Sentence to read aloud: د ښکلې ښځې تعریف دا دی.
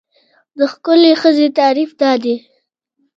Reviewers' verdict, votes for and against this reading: accepted, 2, 0